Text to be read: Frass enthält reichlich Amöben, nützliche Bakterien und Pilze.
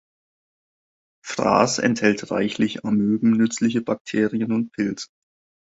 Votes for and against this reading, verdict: 1, 2, rejected